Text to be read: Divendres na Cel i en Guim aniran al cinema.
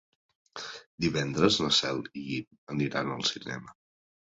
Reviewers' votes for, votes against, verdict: 1, 3, rejected